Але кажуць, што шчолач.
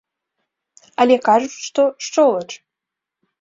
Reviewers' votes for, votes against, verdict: 2, 0, accepted